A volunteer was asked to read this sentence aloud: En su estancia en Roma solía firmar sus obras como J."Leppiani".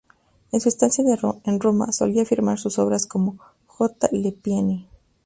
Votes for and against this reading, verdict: 2, 2, rejected